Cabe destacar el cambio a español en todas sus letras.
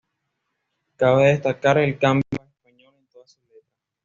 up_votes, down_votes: 1, 2